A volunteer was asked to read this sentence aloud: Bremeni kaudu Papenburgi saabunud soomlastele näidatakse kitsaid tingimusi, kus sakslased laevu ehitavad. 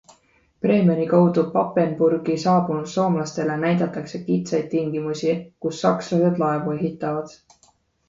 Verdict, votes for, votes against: accepted, 2, 0